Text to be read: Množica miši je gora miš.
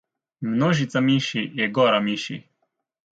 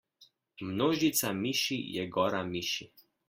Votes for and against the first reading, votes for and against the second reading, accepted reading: 0, 2, 2, 0, second